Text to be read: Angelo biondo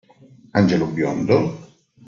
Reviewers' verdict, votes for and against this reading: accepted, 2, 0